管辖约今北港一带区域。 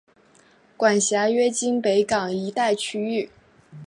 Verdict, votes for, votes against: accepted, 2, 0